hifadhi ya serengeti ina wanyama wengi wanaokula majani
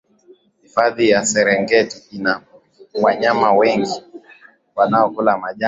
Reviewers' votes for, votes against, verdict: 0, 2, rejected